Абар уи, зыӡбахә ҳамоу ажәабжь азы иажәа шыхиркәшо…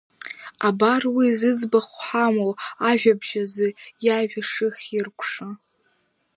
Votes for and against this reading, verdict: 2, 1, accepted